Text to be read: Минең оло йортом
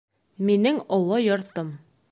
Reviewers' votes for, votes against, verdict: 1, 2, rejected